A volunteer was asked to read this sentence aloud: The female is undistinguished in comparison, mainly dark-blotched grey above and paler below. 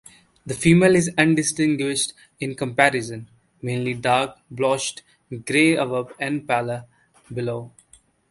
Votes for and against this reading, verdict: 2, 0, accepted